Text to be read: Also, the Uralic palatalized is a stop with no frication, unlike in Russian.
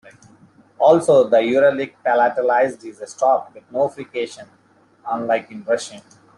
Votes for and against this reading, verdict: 1, 2, rejected